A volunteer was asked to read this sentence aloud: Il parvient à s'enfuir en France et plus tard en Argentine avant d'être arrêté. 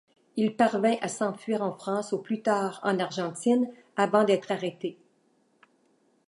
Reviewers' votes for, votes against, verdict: 1, 2, rejected